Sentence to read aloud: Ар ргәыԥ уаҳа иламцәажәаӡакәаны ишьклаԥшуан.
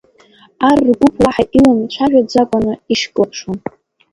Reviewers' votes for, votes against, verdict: 1, 2, rejected